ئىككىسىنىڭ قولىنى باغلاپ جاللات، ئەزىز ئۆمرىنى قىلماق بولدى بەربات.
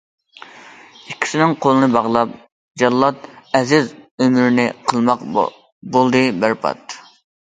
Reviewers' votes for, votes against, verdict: 2, 1, accepted